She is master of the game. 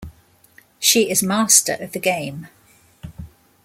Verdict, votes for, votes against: accepted, 2, 0